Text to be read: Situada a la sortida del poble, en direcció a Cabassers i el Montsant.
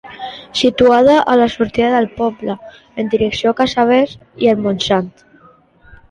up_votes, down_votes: 0, 2